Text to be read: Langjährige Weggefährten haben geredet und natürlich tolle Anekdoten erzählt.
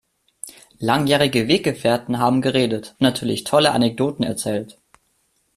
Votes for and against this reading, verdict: 1, 2, rejected